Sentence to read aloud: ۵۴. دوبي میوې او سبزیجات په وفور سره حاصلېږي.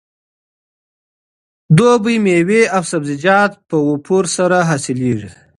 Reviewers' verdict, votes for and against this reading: rejected, 0, 2